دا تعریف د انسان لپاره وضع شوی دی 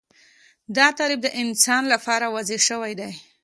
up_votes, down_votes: 2, 0